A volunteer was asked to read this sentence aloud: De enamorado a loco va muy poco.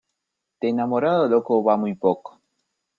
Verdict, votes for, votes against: accepted, 2, 0